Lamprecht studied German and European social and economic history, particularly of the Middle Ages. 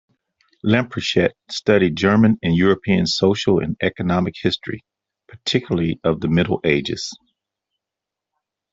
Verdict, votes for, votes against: rejected, 0, 2